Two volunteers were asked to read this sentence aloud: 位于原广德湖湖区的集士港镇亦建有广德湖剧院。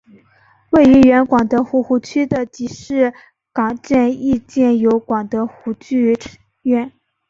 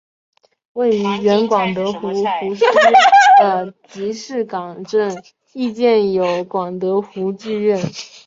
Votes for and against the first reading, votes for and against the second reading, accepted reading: 2, 1, 1, 5, first